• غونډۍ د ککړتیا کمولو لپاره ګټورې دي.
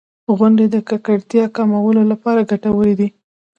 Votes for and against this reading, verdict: 1, 2, rejected